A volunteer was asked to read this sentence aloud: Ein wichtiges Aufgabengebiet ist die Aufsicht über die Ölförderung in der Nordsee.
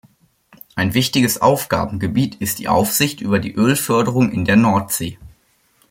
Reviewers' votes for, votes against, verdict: 2, 0, accepted